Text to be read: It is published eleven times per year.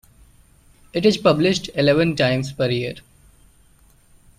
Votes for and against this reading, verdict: 2, 0, accepted